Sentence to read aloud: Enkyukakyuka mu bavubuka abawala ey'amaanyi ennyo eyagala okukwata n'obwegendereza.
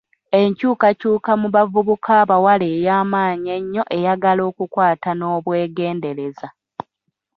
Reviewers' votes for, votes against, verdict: 2, 1, accepted